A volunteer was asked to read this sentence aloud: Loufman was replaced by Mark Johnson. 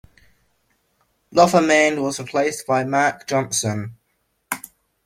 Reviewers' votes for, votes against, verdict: 0, 2, rejected